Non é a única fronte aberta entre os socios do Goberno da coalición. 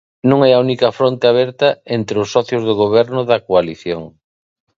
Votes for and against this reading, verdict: 2, 0, accepted